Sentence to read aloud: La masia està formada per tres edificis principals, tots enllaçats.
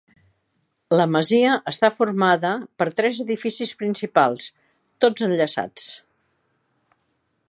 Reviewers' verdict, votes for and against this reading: accepted, 2, 0